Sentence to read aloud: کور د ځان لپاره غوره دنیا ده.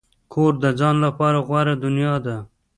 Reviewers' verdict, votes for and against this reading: rejected, 0, 2